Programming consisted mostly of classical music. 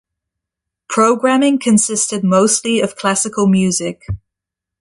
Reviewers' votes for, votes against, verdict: 2, 0, accepted